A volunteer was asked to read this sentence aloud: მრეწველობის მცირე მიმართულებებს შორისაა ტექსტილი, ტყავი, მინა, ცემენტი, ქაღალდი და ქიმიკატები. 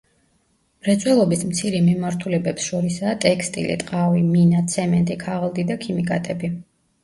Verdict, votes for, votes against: accepted, 2, 1